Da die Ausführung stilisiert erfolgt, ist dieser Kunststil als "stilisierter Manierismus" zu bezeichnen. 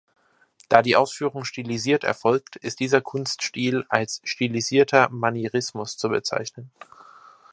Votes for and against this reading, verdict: 2, 0, accepted